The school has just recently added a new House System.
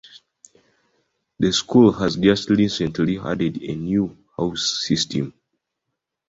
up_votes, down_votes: 2, 1